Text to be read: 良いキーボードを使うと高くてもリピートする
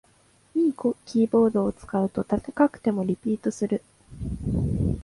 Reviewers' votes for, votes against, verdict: 1, 2, rejected